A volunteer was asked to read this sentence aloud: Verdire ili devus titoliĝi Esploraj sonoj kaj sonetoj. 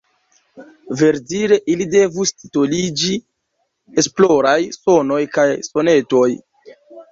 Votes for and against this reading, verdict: 1, 2, rejected